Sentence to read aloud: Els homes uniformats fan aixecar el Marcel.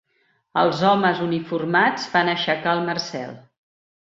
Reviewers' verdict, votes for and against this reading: accepted, 5, 0